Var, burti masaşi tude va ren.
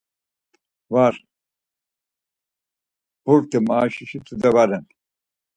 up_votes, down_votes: 0, 4